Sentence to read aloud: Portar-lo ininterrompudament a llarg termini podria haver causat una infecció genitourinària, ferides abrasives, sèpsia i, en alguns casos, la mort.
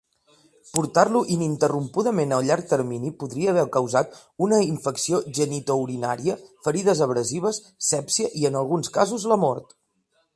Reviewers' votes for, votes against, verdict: 1, 2, rejected